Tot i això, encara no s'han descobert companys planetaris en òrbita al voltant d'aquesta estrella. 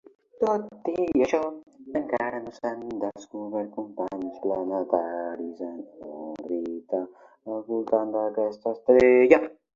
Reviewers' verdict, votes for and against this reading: rejected, 1, 2